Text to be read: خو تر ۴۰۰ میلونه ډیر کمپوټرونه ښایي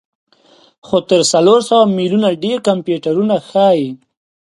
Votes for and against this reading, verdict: 0, 2, rejected